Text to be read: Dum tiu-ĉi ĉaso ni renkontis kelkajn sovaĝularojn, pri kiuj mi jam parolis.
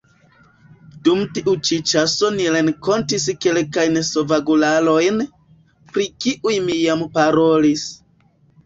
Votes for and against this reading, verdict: 0, 2, rejected